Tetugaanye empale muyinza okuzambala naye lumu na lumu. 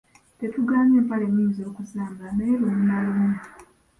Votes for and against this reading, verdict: 4, 1, accepted